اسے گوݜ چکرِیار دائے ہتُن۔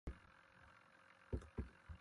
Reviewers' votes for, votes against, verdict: 0, 2, rejected